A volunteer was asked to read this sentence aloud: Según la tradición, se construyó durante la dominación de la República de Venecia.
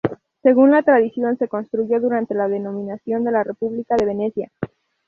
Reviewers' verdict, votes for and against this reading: rejected, 0, 2